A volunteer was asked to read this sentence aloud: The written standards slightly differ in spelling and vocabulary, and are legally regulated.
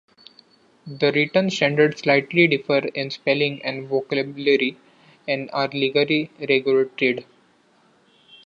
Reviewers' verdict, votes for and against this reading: rejected, 0, 2